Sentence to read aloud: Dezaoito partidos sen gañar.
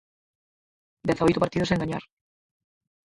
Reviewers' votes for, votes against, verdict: 2, 4, rejected